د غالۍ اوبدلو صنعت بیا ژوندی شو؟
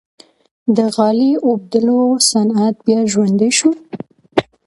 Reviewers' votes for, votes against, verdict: 2, 0, accepted